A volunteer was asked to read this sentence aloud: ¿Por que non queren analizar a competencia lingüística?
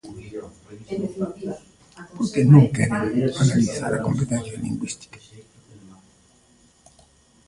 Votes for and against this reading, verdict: 1, 2, rejected